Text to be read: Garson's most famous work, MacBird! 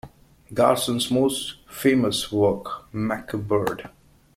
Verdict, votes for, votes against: accepted, 2, 0